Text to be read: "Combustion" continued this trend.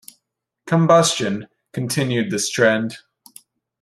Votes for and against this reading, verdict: 2, 0, accepted